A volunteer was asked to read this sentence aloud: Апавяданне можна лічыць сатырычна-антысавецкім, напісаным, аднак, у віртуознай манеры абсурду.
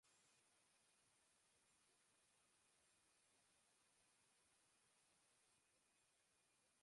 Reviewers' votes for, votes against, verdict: 0, 2, rejected